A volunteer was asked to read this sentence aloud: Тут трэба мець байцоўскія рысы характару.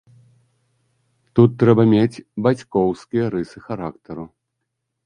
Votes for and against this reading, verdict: 1, 2, rejected